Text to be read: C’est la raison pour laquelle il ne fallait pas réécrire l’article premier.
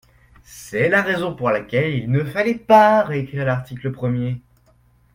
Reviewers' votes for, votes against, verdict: 2, 0, accepted